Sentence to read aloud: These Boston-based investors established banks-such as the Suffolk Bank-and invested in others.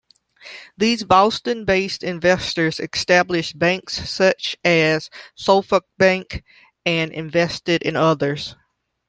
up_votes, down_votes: 0, 2